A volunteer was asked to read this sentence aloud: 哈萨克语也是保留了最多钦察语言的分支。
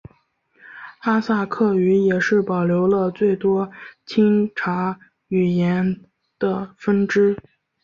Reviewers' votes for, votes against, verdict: 2, 1, accepted